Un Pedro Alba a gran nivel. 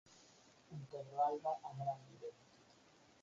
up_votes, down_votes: 0, 4